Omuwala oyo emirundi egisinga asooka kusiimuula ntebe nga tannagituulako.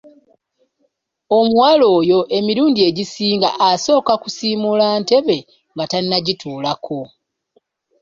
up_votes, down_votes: 2, 0